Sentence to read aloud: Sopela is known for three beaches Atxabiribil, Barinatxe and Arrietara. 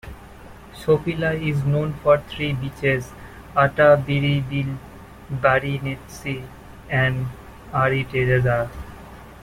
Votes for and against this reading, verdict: 0, 2, rejected